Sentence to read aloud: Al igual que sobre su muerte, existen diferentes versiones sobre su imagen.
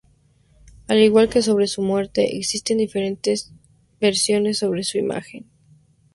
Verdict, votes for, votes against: accepted, 2, 0